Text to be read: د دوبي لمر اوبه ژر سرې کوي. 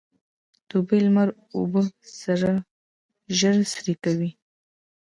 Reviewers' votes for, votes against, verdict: 1, 2, rejected